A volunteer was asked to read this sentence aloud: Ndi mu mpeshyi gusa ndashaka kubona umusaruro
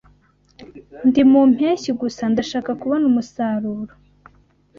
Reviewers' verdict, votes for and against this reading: accepted, 2, 0